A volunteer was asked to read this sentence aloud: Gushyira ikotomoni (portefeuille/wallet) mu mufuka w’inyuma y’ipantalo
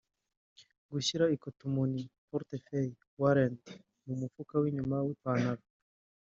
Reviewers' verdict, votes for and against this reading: rejected, 0, 2